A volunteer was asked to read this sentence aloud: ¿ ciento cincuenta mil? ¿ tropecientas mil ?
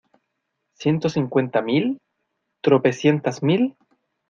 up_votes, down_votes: 2, 0